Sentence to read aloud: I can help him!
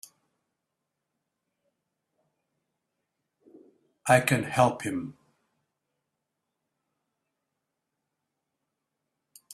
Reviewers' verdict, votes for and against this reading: accepted, 4, 0